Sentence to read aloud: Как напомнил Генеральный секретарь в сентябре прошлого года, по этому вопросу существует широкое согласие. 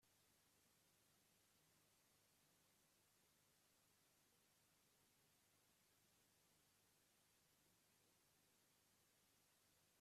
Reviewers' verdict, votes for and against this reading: rejected, 0, 2